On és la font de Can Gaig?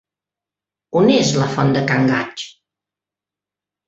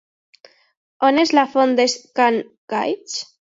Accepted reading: first